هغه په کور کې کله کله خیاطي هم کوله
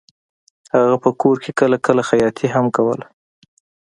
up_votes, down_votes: 2, 0